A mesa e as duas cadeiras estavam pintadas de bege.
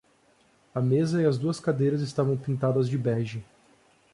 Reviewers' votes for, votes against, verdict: 2, 0, accepted